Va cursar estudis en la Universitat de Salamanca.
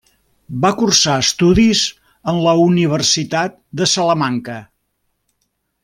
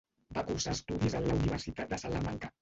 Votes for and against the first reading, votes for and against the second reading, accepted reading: 3, 0, 0, 2, first